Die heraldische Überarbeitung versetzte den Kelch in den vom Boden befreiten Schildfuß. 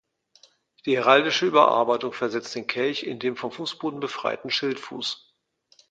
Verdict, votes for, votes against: accepted, 2, 1